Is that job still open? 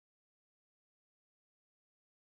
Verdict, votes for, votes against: rejected, 0, 2